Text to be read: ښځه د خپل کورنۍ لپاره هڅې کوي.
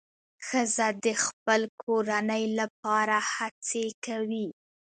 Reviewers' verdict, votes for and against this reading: rejected, 1, 2